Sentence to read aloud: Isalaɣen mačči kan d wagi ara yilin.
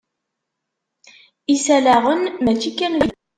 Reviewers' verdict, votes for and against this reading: rejected, 0, 2